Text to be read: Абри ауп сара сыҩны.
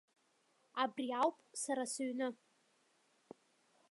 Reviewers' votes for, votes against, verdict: 1, 2, rejected